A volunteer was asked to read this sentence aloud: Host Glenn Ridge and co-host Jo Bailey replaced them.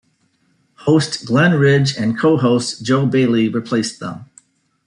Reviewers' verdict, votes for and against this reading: accepted, 2, 1